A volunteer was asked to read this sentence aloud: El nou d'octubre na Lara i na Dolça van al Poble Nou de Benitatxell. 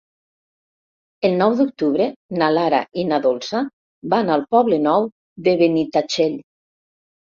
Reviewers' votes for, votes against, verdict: 2, 0, accepted